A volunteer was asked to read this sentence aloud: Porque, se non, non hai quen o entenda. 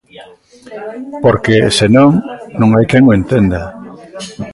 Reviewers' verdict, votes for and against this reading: rejected, 1, 2